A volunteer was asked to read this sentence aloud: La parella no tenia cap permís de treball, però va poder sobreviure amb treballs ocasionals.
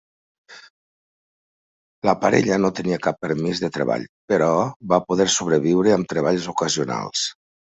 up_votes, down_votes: 3, 1